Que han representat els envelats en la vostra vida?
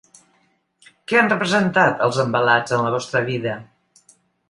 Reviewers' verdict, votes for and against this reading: accepted, 2, 0